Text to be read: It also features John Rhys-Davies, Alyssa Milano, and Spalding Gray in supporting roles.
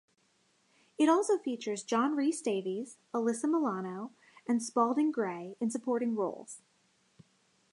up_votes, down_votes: 2, 0